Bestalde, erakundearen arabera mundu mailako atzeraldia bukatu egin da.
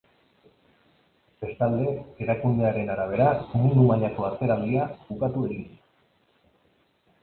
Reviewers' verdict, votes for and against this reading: rejected, 1, 2